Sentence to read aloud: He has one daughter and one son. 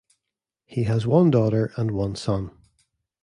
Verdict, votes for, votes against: accepted, 2, 0